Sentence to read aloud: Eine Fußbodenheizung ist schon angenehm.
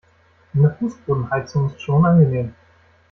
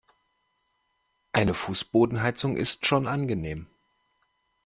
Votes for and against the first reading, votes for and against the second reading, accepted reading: 1, 2, 2, 0, second